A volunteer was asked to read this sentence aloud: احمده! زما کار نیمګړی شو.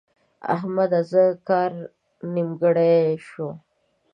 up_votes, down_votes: 0, 2